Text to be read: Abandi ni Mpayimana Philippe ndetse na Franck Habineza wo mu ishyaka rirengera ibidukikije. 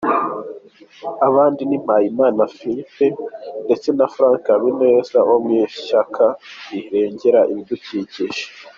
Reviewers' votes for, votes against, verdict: 2, 0, accepted